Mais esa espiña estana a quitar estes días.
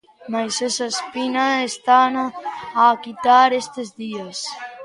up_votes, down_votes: 1, 2